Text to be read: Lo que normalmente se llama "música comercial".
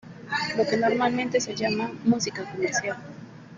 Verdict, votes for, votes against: accepted, 3, 2